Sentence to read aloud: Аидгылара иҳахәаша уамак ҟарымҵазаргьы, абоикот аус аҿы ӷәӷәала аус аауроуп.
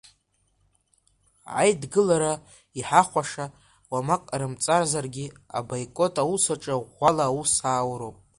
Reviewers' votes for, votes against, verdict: 2, 0, accepted